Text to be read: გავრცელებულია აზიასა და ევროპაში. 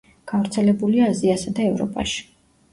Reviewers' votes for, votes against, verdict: 2, 0, accepted